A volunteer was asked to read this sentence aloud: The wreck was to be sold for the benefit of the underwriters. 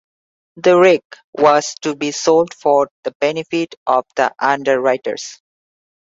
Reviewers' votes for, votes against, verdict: 2, 0, accepted